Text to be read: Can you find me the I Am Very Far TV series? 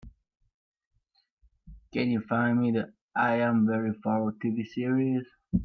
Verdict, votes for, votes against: accepted, 2, 0